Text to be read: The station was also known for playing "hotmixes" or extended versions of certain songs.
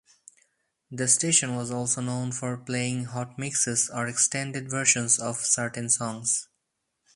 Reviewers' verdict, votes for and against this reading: accepted, 4, 2